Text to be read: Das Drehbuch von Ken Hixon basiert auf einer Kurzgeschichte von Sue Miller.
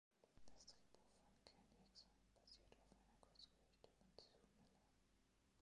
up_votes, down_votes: 0, 2